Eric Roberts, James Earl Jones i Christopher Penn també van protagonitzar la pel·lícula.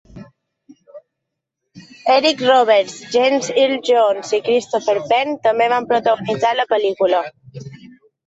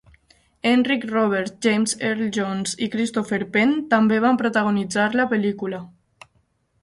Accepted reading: first